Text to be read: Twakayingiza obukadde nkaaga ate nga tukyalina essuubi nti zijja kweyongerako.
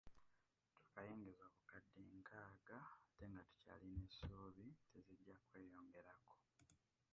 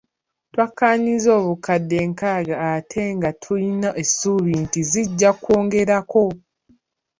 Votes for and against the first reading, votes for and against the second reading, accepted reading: 0, 2, 3, 1, second